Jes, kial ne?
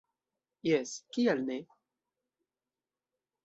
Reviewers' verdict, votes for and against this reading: accepted, 2, 0